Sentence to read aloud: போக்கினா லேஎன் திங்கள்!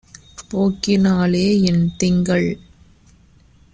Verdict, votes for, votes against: accepted, 2, 0